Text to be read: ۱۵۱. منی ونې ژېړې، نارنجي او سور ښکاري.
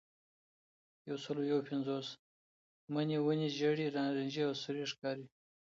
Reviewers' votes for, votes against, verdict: 0, 2, rejected